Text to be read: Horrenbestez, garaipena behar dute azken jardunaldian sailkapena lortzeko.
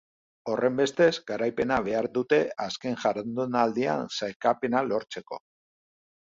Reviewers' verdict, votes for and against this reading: rejected, 0, 2